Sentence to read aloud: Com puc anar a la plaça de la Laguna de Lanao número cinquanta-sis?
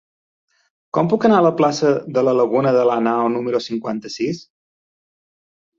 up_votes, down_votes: 3, 0